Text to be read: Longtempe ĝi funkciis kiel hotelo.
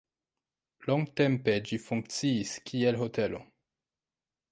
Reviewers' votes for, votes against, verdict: 2, 1, accepted